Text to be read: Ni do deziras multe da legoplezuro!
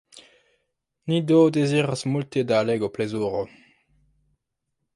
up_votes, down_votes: 1, 2